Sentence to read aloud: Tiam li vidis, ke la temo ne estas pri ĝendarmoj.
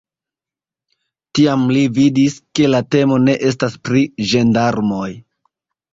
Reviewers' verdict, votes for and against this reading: rejected, 0, 2